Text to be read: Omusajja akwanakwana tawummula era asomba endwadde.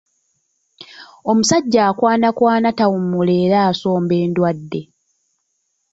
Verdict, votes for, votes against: accepted, 2, 0